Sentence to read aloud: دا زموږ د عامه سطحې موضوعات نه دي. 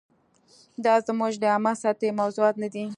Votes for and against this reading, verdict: 2, 0, accepted